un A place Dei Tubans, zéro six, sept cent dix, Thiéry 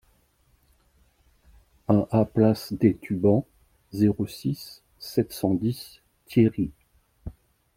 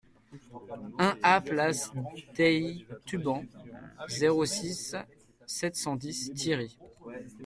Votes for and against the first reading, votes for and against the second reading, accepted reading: 1, 2, 2, 0, second